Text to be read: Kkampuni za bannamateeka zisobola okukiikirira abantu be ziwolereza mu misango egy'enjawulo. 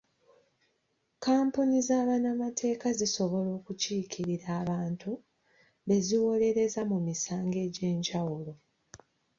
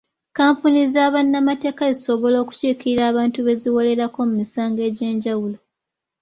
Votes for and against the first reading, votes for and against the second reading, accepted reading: 2, 0, 1, 2, first